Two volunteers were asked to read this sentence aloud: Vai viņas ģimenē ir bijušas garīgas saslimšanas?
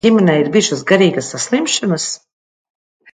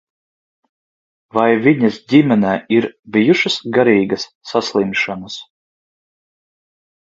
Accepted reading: second